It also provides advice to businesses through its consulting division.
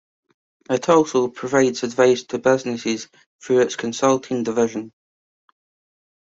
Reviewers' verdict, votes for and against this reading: accepted, 2, 0